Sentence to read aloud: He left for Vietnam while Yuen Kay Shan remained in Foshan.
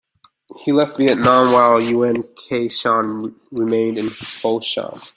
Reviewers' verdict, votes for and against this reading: rejected, 0, 2